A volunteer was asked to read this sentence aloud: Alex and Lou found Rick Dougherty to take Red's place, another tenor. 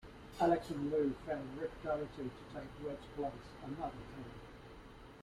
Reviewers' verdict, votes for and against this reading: rejected, 1, 2